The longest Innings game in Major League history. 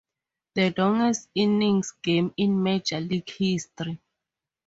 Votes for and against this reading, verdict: 2, 0, accepted